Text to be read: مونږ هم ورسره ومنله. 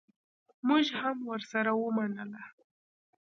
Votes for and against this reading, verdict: 0, 2, rejected